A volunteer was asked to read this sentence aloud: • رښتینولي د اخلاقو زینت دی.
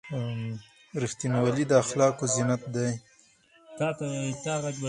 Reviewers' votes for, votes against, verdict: 2, 4, rejected